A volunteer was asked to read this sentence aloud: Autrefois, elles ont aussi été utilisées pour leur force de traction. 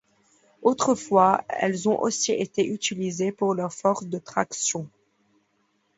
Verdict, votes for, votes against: accepted, 2, 0